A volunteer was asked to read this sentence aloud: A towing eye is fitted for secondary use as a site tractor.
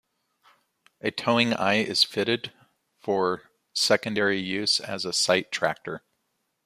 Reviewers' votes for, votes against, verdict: 2, 0, accepted